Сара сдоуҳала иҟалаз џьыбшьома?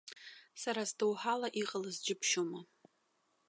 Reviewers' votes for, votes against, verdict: 1, 2, rejected